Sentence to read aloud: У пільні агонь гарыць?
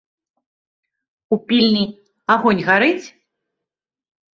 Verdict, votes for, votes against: accepted, 2, 0